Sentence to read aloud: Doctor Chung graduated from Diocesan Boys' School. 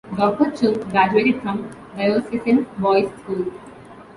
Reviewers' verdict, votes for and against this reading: rejected, 1, 2